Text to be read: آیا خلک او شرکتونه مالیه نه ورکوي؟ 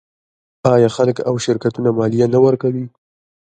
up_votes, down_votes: 2, 0